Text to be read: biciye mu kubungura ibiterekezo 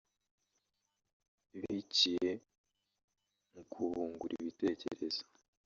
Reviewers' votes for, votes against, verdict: 0, 2, rejected